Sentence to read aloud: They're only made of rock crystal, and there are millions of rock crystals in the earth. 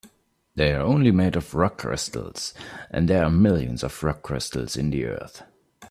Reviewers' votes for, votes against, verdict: 0, 2, rejected